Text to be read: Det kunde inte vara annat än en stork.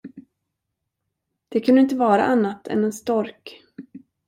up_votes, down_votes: 2, 0